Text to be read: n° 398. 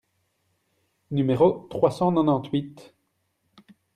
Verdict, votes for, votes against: rejected, 0, 2